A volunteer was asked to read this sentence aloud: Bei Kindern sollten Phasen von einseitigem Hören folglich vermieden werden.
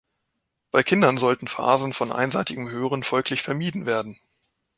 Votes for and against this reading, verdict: 2, 0, accepted